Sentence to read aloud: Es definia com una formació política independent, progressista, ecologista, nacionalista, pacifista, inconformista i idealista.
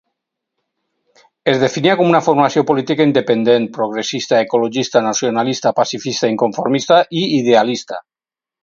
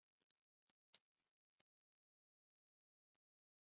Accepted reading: first